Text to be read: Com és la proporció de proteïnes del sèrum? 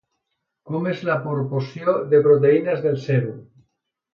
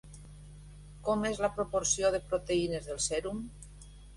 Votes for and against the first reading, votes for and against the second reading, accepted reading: 1, 2, 2, 1, second